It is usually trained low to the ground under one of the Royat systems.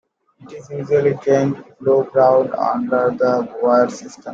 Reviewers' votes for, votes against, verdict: 1, 2, rejected